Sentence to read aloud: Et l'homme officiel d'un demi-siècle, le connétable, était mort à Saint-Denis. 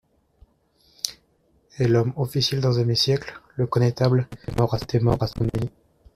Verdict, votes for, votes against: rejected, 0, 2